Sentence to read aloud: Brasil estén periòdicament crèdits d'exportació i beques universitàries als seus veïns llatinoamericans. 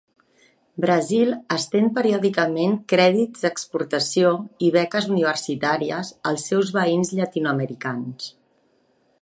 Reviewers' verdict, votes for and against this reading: accepted, 3, 0